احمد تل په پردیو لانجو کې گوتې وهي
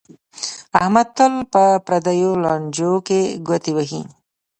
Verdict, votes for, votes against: accepted, 2, 0